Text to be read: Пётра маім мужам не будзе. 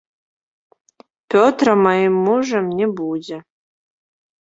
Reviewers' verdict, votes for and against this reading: accepted, 2, 0